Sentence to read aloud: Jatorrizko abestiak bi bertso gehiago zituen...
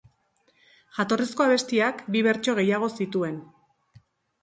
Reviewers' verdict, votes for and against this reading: accepted, 2, 0